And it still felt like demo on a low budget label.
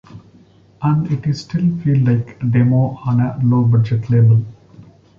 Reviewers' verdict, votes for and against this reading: rejected, 1, 2